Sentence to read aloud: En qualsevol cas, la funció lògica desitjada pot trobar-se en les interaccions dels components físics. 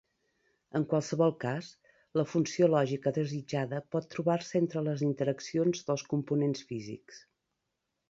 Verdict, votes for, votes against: rejected, 1, 2